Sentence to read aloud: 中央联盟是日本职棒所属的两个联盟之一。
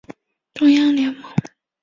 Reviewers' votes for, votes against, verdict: 0, 2, rejected